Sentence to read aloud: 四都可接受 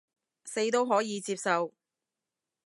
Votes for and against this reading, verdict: 0, 2, rejected